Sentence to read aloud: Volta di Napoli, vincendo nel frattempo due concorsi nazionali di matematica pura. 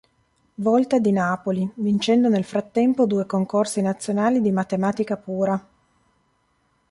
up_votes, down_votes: 3, 0